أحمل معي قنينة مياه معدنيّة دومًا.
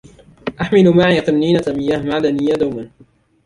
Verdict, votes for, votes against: accepted, 2, 1